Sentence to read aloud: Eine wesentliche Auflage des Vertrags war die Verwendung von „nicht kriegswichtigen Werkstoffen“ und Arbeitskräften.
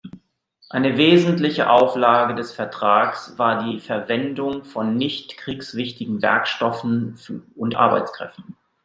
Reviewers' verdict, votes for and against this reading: accepted, 2, 0